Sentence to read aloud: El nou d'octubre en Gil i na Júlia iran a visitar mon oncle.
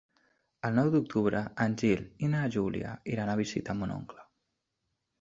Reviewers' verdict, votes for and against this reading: accepted, 3, 0